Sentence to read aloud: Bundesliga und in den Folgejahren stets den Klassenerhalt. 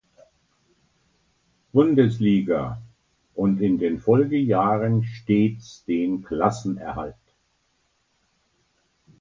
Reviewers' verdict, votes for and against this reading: accepted, 2, 0